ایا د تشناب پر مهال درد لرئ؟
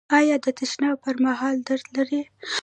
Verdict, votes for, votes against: rejected, 1, 2